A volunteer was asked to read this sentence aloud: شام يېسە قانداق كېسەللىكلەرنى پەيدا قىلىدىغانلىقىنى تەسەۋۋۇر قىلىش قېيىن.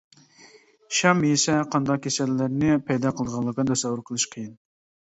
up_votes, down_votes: 0, 2